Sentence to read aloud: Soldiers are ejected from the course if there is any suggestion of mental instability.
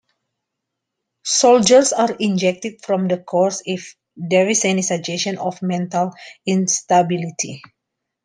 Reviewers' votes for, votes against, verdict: 2, 0, accepted